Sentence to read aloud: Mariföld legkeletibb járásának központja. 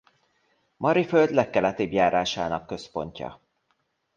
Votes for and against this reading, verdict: 2, 0, accepted